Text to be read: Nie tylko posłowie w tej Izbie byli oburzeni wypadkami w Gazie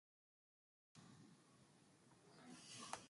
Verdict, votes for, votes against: rejected, 0, 2